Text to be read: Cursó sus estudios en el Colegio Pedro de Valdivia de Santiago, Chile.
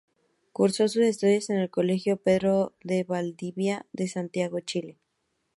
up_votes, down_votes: 4, 0